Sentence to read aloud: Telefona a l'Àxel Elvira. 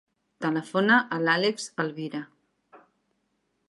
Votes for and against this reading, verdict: 1, 2, rejected